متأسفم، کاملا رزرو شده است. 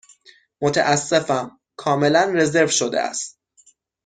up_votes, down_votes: 6, 0